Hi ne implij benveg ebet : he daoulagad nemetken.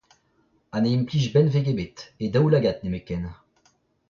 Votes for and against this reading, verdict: 0, 2, rejected